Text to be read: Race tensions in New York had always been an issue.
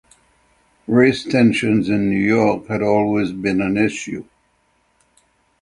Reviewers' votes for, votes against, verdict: 6, 0, accepted